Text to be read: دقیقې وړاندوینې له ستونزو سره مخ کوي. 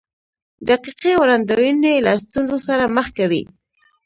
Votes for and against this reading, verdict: 0, 2, rejected